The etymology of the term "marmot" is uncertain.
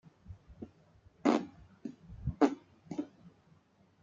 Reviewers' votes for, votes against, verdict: 0, 2, rejected